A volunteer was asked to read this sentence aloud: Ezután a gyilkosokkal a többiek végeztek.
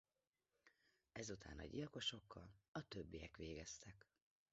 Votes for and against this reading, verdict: 0, 2, rejected